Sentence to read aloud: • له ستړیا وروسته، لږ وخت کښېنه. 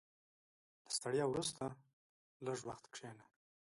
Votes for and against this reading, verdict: 1, 2, rejected